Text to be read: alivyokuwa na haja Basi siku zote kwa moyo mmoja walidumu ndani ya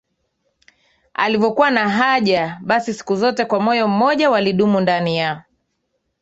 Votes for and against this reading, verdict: 2, 1, accepted